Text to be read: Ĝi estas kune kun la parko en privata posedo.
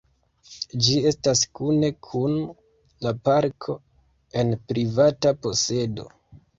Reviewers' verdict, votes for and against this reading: accepted, 2, 0